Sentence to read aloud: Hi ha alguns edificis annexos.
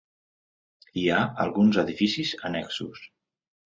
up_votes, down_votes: 2, 0